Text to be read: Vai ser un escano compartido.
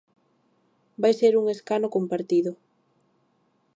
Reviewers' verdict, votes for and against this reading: accepted, 2, 0